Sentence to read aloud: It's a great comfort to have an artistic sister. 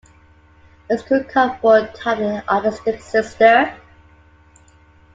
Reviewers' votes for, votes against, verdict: 2, 1, accepted